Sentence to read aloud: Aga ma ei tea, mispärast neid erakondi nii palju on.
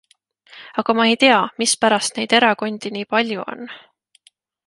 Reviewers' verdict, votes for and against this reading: accepted, 2, 0